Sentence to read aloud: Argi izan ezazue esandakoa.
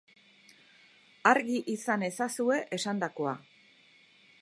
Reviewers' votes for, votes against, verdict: 2, 0, accepted